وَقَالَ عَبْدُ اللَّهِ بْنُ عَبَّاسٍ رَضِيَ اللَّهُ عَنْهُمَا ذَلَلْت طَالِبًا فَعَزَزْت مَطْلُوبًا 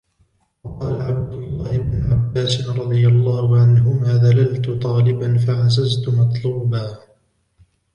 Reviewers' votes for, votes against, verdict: 0, 2, rejected